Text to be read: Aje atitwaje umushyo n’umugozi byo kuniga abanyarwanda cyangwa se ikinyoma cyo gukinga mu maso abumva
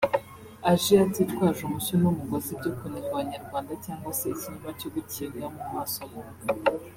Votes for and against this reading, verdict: 1, 2, rejected